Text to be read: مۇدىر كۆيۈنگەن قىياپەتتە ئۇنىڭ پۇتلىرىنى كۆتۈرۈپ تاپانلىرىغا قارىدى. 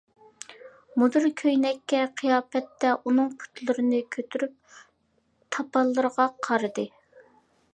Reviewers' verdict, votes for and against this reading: rejected, 0, 2